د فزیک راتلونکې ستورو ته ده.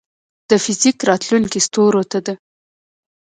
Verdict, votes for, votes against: rejected, 0, 2